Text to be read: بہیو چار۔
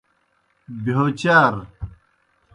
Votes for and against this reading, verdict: 0, 2, rejected